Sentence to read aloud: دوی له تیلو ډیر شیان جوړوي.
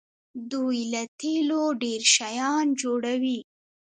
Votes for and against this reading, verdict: 2, 1, accepted